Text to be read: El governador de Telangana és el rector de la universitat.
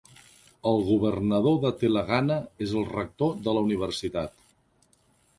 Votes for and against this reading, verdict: 0, 3, rejected